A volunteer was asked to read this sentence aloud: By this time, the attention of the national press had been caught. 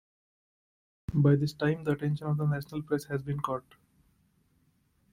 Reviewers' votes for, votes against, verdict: 0, 2, rejected